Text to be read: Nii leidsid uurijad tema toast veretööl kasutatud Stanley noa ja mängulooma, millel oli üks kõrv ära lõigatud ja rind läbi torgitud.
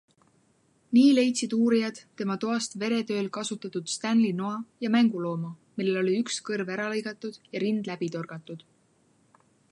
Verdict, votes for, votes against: rejected, 0, 2